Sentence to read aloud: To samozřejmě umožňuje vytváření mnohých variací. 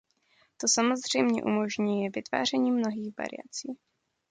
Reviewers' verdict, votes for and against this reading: accepted, 2, 0